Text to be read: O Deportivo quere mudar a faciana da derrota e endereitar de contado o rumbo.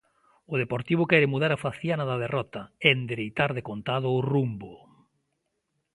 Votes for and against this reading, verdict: 2, 0, accepted